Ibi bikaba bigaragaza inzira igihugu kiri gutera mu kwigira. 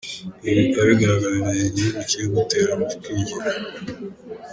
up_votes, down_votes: 0, 2